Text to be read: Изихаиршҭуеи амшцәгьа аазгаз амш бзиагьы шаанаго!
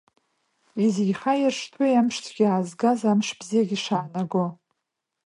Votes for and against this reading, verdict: 2, 0, accepted